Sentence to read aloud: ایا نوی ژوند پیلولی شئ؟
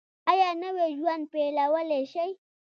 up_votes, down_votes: 1, 2